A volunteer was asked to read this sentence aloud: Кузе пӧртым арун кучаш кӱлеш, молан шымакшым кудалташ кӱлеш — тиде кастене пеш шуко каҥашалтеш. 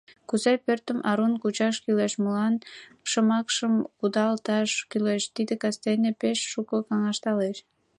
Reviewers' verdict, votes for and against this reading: accepted, 2, 1